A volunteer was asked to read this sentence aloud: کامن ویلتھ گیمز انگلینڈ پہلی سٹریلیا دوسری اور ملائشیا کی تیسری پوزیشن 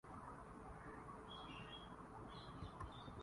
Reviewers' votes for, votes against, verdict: 0, 2, rejected